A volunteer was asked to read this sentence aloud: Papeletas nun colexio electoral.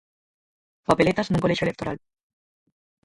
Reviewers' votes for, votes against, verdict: 0, 4, rejected